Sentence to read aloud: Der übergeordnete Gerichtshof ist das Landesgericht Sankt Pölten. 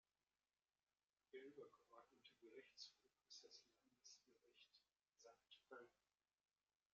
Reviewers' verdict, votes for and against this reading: rejected, 0, 2